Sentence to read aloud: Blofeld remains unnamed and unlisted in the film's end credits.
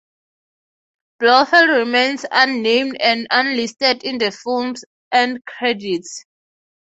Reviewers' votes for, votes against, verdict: 3, 3, rejected